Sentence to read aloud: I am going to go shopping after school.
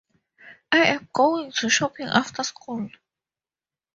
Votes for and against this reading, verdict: 0, 4, rejected